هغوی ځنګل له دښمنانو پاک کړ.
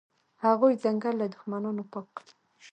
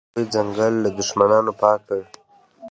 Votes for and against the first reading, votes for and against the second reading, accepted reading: 1, 2, 2, 0, second